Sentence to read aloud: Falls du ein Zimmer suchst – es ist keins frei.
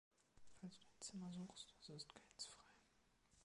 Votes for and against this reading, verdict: 1, 2, rejected